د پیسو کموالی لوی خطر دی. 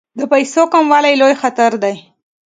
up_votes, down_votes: 2, 0